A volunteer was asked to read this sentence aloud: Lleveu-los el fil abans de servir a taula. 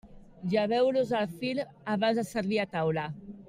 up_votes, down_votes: 3, 0